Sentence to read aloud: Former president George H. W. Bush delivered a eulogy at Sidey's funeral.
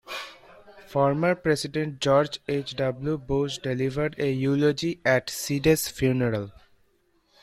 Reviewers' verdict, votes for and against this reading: accepted, 2, 1